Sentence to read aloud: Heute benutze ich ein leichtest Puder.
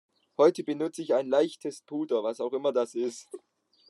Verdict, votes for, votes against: rejected, 0, 2